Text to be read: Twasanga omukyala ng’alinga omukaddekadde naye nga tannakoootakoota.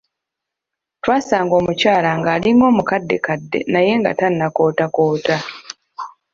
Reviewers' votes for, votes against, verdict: 2, 0, accepted